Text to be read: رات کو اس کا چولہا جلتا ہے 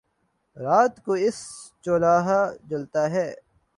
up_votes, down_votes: 0, 2